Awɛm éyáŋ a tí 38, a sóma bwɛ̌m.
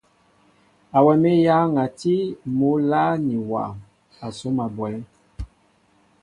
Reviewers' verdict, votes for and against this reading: rejected, 0, 2